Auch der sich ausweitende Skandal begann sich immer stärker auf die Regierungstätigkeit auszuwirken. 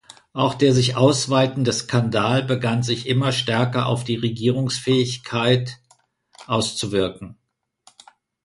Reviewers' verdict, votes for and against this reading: rejected, 1, 2